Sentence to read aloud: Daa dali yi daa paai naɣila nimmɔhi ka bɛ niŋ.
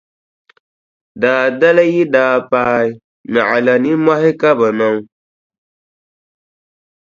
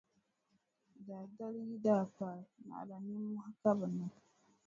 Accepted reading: first